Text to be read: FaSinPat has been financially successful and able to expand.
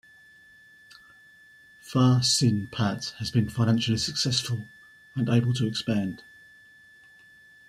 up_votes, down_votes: 2, 0